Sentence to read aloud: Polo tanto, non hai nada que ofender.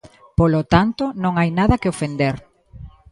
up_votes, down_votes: 2, 0